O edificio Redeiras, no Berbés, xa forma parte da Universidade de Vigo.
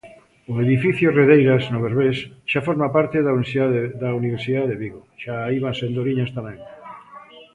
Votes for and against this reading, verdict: 0, 2, rejected